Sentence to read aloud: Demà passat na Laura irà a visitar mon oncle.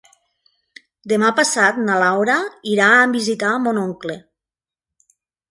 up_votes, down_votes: 1, 2